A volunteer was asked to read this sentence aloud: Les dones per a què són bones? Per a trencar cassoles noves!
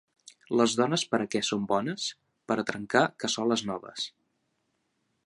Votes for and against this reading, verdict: 2, 0, accepted